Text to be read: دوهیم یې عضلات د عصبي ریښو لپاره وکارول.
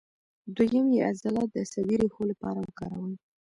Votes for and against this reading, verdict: 1, 2, rejected